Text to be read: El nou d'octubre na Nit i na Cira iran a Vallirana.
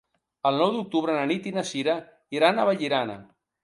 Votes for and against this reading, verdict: 3, 0, accepted